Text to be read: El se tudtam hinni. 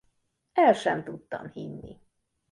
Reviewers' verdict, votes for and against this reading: rejected, 0, 2